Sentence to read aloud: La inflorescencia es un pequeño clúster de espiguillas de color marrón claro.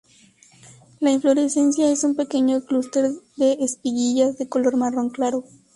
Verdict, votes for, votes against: accepted, 2, 0